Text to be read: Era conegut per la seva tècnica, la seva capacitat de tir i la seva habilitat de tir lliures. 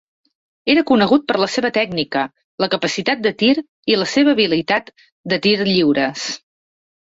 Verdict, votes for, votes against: rejected, 2, 3